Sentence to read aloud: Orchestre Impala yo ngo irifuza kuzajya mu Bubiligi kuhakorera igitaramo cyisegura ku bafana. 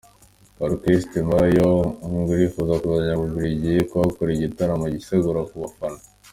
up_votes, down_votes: 2, 0